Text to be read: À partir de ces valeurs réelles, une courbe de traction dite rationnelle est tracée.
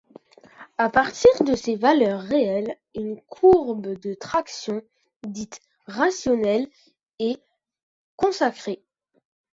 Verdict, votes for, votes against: rejected, 0, 2